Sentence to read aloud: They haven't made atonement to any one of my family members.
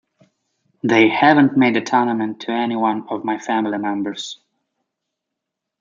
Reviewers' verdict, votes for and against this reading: rejected, 0, 2